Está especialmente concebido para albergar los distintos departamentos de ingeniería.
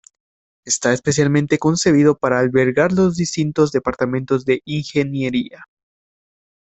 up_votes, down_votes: 2, 1